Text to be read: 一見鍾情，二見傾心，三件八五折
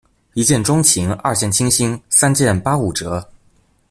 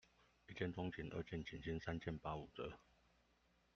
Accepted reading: first